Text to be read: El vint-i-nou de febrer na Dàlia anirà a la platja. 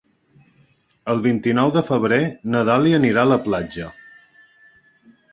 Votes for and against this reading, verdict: 4, 0, accepted